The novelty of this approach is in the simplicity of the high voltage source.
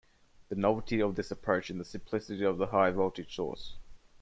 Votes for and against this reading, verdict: 1, 2, rejected